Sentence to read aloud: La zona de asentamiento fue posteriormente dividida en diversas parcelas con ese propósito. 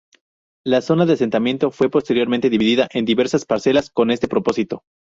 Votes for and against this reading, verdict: 0, 2, rejected